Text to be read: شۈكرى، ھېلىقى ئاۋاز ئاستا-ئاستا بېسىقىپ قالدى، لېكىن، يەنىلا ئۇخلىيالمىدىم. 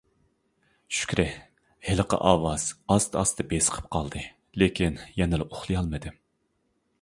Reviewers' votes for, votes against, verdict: 2, 0, accepted